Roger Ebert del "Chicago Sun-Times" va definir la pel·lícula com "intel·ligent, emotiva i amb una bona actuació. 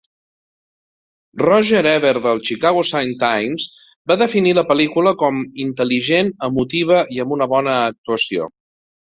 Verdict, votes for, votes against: accepted, 2, 0